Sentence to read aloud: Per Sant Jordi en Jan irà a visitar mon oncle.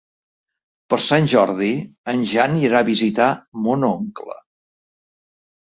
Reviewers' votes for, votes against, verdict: 3, 0, accepted